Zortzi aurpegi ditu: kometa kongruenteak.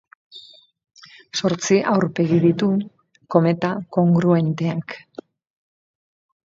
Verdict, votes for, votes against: accepted, 2, 0